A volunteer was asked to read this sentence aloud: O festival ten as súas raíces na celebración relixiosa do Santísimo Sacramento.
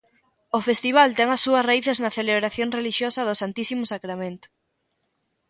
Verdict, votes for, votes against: accepted, 2, 0